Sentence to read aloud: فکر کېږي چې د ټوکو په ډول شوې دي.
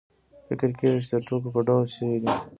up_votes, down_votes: 0, 2